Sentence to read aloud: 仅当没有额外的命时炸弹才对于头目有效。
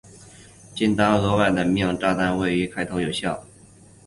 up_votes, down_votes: 7, 0